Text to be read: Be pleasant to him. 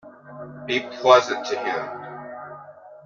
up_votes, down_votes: 2, 0